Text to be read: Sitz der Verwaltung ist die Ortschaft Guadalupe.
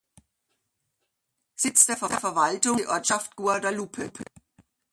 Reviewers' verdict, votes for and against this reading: rejected, 0, 2